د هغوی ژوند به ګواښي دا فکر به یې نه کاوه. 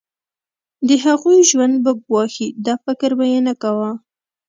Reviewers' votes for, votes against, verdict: 2, 0, accepted